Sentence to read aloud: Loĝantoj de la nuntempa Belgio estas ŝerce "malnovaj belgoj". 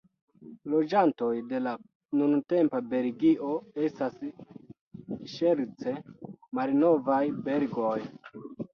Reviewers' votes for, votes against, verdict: 0, 2, rejected